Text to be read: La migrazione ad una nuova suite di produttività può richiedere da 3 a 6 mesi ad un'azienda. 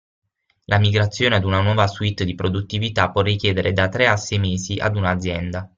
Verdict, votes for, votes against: rejected, 0, 2